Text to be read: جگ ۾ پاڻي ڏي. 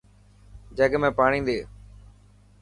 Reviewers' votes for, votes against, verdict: 3, 0, accepted